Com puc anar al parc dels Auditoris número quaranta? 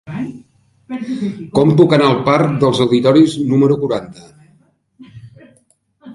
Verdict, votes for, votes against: rejected, 0, 3